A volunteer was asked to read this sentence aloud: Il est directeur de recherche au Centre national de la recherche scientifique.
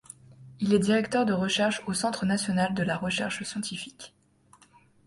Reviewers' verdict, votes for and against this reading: accepted, 2, 0